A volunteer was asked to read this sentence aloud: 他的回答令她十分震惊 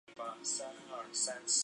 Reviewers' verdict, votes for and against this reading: rejected, 0, 2